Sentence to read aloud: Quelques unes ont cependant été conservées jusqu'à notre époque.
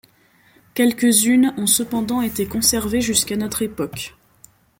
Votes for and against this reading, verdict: 3, 0, accepted